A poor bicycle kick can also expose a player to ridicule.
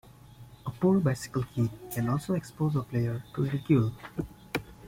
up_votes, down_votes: 2, 0